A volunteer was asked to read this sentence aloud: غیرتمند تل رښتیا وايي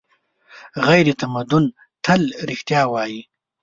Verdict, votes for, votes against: rejected, 1, 2